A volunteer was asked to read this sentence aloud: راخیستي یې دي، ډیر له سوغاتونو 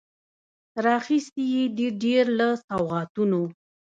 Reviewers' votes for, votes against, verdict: 0, 2, rejected